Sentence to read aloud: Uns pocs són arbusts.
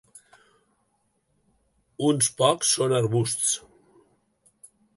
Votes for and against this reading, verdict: 5, 0, accepted